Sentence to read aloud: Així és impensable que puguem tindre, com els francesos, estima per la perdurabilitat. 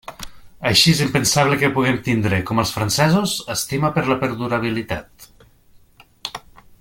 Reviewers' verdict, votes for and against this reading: accepted, 3, 0